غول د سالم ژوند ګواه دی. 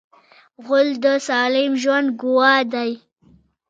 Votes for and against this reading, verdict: 1, 2, rejected